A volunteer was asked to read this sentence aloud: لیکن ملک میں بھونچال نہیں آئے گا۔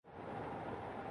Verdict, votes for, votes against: rejected, 0, 2